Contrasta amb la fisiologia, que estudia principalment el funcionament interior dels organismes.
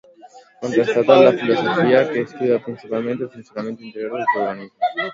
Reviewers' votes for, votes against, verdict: 1, 2, rejected